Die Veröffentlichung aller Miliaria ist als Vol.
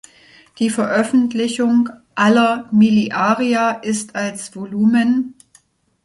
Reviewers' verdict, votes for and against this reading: rejected, 1, 2